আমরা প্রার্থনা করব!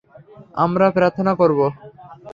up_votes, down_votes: 3, 0